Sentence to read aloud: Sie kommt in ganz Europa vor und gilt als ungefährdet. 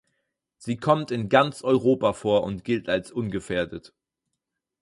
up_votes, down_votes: 4, 0